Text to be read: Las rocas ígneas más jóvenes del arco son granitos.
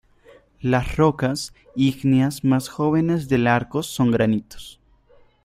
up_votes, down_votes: 2, 0